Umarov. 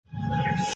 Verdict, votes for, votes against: rejected, 0, 2